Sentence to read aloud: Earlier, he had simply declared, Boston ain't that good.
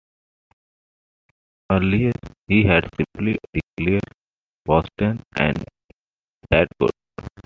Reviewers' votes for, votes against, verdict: 2, 1, accepted